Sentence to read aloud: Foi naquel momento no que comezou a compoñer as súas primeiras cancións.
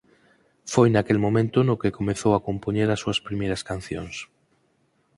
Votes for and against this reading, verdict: 4, 0, accepted